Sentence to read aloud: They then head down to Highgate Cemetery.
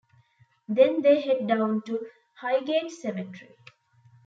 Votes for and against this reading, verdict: 1, 2, rejected